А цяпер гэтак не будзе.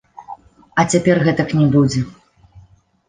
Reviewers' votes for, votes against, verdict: 2, 0, accepted